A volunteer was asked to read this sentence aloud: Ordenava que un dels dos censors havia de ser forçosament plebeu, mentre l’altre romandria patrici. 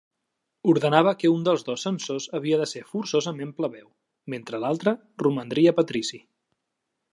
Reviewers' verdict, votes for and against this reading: accepted, 3, 0